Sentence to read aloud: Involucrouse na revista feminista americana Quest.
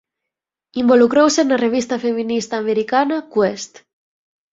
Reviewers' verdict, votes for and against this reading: accepted, 4, 0